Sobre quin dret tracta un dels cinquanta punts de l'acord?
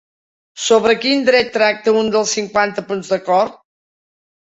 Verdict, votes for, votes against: rejected, 0, 3